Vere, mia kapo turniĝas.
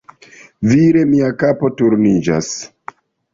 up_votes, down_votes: 0, 2